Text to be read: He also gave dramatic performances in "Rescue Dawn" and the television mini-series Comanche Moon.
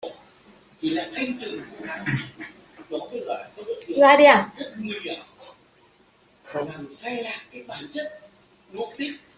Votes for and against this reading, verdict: 0, 2, rejected